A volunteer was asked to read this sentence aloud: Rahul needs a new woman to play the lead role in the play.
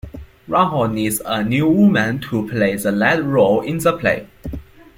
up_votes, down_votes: 0, 2